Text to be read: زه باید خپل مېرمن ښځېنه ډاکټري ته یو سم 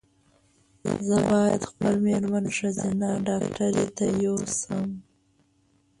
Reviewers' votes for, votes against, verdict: 1, 2, rejected